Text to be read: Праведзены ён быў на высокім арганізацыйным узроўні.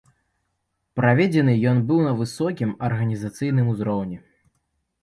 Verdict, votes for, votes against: accepted, 2, 0